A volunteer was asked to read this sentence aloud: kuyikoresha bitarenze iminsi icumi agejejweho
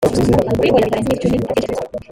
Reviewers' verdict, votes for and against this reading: rejected, 0, 2